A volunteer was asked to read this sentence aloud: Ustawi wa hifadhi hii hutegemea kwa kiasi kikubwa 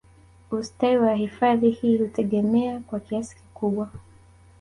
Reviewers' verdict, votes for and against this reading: accepted, 2, 0